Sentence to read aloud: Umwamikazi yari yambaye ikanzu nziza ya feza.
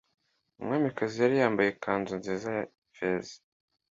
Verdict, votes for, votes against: accepted, 2, 0